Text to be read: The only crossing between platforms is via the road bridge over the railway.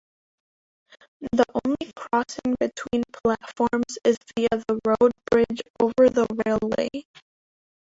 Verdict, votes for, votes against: rejected, 0, 2